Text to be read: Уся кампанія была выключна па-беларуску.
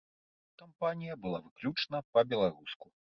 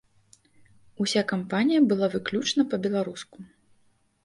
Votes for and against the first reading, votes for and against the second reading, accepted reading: 0, 2, 2, 0, second